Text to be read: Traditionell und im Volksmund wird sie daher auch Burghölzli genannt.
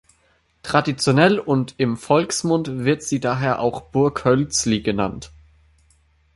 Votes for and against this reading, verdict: 2, 0, accepted